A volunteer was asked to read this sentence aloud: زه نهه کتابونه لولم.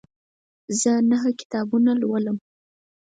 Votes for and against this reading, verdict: 4, 0, accepted